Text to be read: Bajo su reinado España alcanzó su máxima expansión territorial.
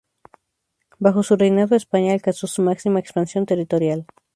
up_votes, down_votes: 2, 0